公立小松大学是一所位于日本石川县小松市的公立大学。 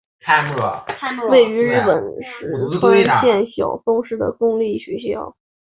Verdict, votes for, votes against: rejected, 0, 3